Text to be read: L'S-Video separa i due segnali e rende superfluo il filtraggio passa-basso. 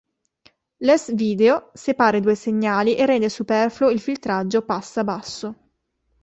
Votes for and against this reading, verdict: 2, 0, accepted